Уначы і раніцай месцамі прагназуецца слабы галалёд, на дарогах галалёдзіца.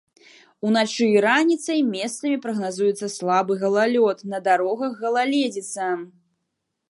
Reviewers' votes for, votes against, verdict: 2, 1, accepted